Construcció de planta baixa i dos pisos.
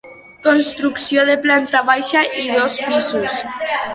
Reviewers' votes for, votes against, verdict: 0, 2, rejected